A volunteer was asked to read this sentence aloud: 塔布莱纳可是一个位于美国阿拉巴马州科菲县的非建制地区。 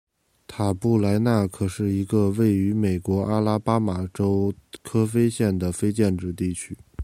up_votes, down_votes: 2, 0